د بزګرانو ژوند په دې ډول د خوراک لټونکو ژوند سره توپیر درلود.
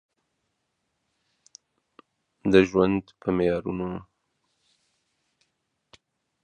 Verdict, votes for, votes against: rejected, 0, 2